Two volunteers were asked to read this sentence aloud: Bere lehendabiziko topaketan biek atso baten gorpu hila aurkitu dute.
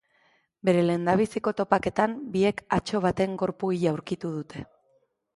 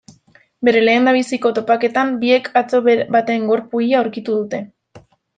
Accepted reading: first